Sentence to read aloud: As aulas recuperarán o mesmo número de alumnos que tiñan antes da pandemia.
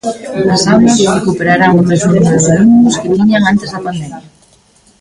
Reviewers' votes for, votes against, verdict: 0, 2, rejected